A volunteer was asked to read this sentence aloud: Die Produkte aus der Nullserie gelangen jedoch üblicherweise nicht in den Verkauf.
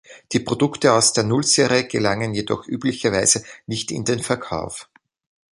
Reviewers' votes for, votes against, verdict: 3, 2, accepted